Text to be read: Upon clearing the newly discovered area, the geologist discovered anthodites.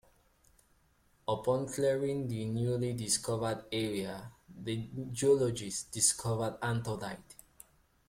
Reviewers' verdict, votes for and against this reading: accepted, 2, 1